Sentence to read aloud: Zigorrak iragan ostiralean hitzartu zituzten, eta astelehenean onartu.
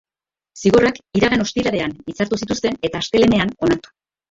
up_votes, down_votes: 3, 2